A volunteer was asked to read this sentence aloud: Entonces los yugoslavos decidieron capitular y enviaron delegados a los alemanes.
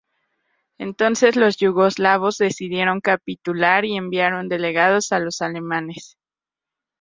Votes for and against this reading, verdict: 2, 2, rejected